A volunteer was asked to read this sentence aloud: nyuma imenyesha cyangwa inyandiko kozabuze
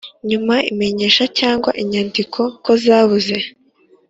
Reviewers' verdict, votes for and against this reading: accepted, 2, 0